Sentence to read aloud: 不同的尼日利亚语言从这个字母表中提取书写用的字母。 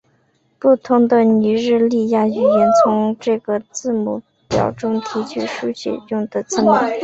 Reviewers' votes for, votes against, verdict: 5, 0, accepted